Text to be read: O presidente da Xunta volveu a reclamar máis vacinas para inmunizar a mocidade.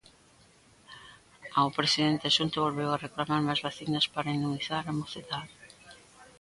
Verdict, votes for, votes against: rejected, 0, 2